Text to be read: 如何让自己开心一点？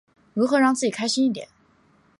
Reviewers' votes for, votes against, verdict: 2, 0, accepted